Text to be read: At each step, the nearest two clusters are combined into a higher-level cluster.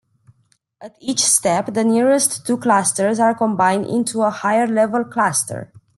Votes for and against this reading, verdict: 2, 0, accepted